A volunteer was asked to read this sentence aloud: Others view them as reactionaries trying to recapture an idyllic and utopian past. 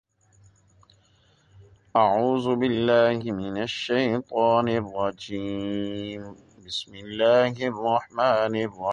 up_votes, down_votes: 0, 2